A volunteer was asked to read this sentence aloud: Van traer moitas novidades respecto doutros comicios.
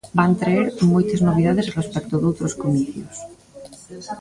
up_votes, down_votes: 0, 2